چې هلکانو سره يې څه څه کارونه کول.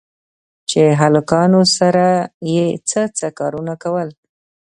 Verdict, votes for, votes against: rejected, 0, 2